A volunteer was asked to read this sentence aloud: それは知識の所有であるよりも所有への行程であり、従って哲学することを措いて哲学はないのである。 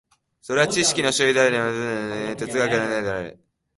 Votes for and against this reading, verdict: 0, 3, rejected